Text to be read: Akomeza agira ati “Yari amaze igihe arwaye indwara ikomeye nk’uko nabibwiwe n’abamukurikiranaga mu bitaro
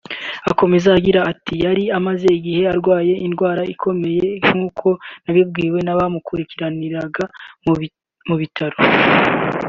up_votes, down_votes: 1, 2